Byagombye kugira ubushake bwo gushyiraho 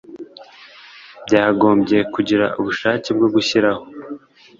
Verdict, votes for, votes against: accepted, 2, 0